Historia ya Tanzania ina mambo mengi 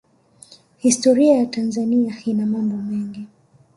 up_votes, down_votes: 1, 2